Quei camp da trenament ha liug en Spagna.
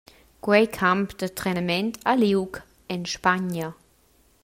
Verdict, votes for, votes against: accepted, 2, 0